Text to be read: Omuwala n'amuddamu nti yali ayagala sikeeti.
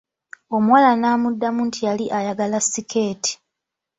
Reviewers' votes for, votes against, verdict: 2, 0, accepted